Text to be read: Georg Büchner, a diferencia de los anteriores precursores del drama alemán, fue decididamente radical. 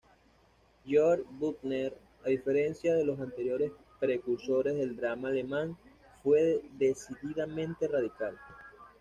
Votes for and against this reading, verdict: 2, 0, accepted